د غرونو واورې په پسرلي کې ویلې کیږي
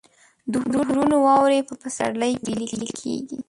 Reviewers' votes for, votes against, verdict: 1, 2, rejected